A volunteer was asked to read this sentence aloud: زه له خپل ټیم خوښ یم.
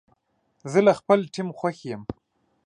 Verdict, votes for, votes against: accepted, 2, 0